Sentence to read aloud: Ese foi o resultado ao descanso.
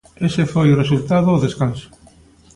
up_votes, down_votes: 2, 0